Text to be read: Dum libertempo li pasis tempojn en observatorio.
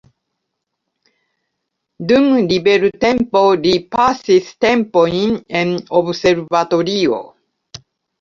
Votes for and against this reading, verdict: 2, 1, accepted